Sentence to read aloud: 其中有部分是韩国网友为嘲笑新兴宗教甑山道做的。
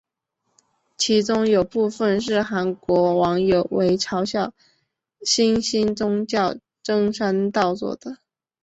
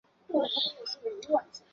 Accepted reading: first